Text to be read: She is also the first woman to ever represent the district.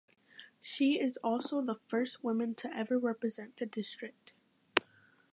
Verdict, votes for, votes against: accepted, 2, 0